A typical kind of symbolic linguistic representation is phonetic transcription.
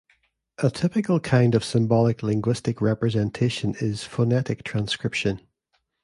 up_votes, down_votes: 2, 0